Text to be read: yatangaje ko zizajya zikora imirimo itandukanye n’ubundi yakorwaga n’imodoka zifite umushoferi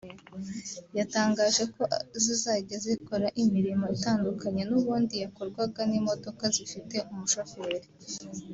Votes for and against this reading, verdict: 2, 0, accepted